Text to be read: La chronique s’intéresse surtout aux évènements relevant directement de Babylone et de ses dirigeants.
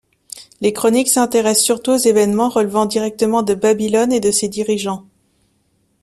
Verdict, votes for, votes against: rejected, 1, 2